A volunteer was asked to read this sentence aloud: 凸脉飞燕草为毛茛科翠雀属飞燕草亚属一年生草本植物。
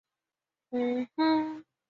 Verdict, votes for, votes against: rejected, 0, 4